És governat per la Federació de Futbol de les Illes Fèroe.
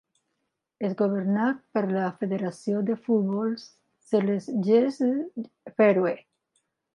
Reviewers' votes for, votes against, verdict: 1, 2, rejected